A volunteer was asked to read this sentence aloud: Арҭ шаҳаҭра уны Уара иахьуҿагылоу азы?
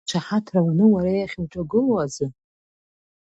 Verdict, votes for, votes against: rejected, 1, 3